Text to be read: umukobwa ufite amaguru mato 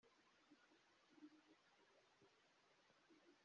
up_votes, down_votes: 0, 2